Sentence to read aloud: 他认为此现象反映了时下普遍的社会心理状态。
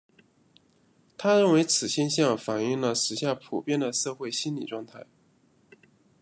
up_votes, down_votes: 2, 0